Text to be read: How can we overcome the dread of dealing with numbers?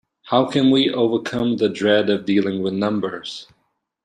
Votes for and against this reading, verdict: 2, 0, accepted